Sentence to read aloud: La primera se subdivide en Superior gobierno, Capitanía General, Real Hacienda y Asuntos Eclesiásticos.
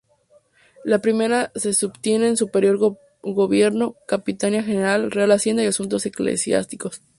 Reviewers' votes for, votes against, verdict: 0, 2, rejected